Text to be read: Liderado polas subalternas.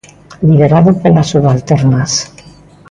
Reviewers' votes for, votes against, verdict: 2, 0, accepted